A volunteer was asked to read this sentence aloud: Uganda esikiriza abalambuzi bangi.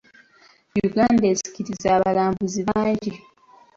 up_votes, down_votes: 3, 0